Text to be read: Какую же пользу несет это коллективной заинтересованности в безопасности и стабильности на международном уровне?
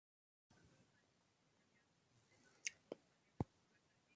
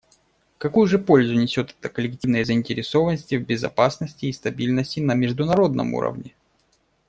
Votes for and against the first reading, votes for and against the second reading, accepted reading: 0, 2, 2, 0, second